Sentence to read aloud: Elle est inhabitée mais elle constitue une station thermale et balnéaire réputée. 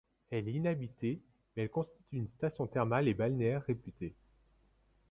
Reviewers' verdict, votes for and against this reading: accepted, 2, 0